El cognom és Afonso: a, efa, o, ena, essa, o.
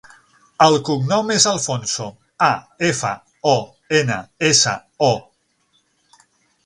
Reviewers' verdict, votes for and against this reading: rejected, 0, 6